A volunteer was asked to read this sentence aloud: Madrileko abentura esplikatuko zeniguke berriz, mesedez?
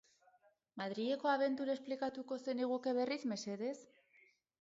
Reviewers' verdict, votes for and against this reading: accepted, 4, 0